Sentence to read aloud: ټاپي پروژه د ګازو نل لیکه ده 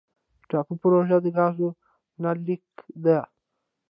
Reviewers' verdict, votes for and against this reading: rejected, 0, 2